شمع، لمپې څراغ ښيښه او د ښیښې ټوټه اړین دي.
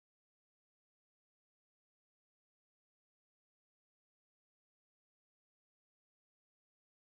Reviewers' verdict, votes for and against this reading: rejected, 0, 3